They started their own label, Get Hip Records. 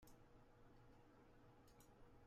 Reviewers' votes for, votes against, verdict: 0, 2, rejected